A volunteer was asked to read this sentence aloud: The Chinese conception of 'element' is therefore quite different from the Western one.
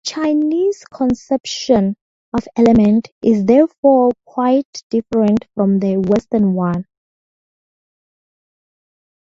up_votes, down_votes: 2, 2